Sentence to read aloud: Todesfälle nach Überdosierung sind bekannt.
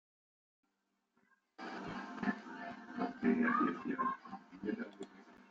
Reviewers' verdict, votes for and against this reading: rejected, 0, 2